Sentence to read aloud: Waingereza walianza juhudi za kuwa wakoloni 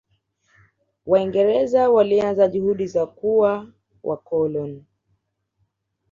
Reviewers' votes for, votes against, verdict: 2, 0, accepted